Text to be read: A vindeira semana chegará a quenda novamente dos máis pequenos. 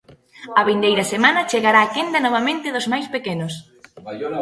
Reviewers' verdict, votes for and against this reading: accepted, 2, 0